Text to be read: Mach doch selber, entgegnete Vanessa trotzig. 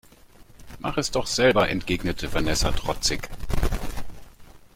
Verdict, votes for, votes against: rejected, 0, 3